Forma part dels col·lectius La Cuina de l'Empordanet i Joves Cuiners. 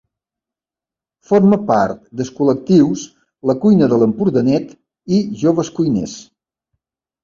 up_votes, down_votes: 2, 3